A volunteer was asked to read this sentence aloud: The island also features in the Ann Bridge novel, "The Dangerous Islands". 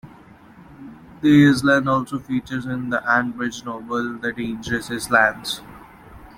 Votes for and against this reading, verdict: 0, 2, rejected